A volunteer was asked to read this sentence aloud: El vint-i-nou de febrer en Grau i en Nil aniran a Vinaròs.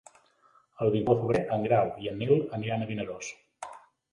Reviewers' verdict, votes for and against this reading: rejected, 0, 3